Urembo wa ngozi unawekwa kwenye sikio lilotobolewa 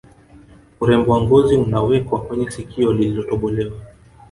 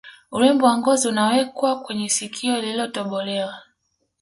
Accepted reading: second